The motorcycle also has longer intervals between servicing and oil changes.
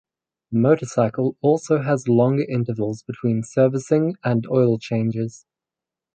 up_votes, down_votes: 4, 0